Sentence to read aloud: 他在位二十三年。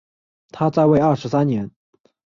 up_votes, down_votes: 2, 0